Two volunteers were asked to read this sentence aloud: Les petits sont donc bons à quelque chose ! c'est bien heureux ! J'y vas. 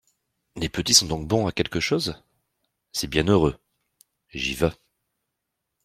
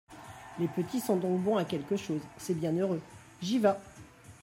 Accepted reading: first